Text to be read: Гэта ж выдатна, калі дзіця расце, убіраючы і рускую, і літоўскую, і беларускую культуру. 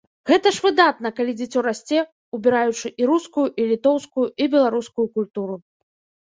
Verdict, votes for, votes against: rejected, 2, 3